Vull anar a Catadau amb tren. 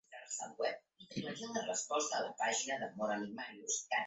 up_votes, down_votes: 0, 2